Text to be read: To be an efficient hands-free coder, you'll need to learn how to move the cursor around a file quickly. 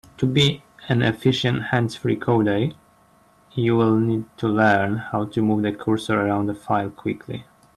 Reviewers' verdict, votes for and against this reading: accepted, 3, 1